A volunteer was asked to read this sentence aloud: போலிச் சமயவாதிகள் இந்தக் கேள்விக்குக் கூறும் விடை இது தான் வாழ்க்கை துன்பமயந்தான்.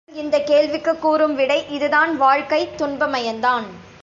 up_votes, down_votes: 0, 2